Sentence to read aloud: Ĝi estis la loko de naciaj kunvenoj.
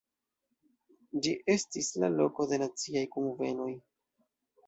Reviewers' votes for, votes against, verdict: 2, 0, accepted